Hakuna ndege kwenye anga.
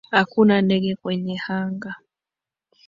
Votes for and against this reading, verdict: 1, 2, rejected